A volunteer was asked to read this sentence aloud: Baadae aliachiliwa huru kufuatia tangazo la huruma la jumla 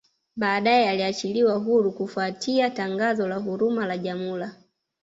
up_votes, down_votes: 1, 2